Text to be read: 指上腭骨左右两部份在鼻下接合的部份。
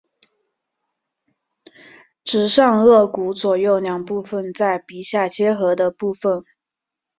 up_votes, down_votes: 2, 0